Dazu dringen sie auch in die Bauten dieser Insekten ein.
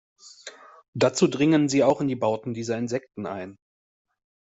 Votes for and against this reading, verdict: 2, 0, accepted